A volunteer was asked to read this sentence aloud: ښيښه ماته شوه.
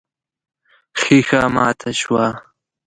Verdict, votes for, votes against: accepted, 2, 0